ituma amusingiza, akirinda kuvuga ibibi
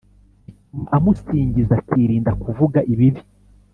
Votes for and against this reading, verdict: 1, 2, rejected